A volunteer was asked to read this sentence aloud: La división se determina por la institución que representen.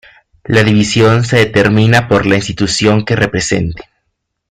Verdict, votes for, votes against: accepted, 2, 1